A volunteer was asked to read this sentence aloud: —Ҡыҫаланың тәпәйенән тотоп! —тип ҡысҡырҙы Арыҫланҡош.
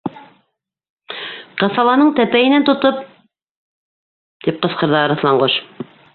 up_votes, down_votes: 0, 2